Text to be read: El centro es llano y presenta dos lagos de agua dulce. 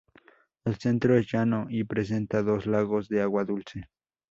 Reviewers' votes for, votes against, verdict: 4, 0, accepted